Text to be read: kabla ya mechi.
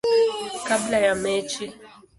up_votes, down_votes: 1, 2